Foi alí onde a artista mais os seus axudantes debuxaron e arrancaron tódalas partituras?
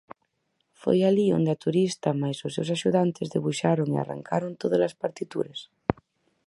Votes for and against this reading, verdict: 0, 4, rejected